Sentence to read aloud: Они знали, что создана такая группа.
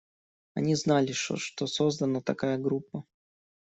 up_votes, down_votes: 0, 2